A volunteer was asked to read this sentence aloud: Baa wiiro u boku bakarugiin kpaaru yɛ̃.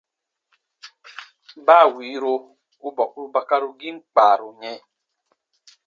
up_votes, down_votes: 2, 0